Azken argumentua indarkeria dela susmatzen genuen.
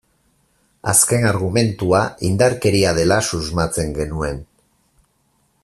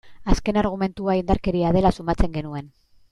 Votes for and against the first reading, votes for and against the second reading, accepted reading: 4, 0, 1, 2, first